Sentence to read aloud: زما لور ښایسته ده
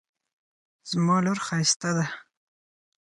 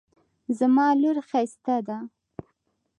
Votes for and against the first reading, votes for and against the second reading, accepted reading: 0, 4, 3, 0, second